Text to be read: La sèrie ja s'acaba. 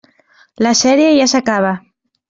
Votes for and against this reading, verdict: 3, 0, accepted